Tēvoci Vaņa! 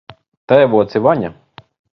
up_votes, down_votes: 0, 2